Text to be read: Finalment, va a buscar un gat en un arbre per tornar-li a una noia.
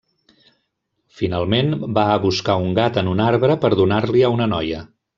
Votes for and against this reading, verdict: 0, 2, rejected